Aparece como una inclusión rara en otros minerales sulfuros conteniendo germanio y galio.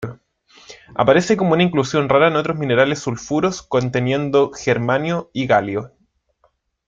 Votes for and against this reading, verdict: 2, 0, accepted